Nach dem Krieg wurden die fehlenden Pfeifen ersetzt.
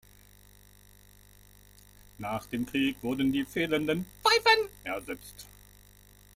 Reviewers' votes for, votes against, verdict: 1, 2, rejected